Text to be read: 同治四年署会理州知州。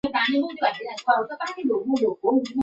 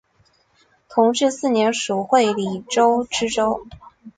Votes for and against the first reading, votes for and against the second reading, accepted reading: 0, 2, 4, 0, second